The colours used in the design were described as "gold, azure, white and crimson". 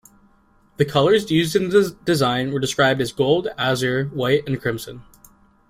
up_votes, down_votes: 1, 2